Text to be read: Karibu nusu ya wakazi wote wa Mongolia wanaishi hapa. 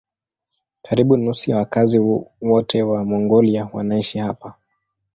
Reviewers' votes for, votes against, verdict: 1, 2, rejected